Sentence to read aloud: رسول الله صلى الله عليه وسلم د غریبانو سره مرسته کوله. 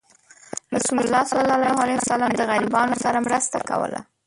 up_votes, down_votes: 0, 2